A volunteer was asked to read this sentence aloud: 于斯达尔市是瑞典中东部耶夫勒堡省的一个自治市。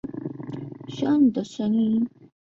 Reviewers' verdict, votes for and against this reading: rejected, 1, 2